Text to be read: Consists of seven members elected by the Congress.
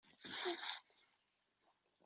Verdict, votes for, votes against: rejected, 0, 2